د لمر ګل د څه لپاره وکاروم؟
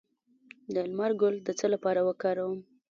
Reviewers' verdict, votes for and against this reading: rejected, 0, 2